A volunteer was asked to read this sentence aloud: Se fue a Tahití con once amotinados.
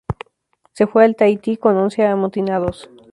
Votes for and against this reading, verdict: 0, 2, rejected